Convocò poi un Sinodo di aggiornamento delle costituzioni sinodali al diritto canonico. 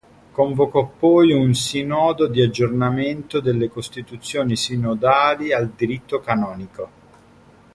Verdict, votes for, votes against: accepted, 2, 0